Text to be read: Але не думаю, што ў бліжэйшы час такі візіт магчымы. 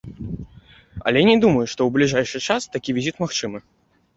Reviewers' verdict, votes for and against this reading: rejected, 0, 2